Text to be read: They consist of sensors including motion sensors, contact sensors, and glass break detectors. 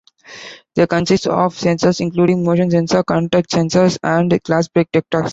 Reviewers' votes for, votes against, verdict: 1, 2, rejected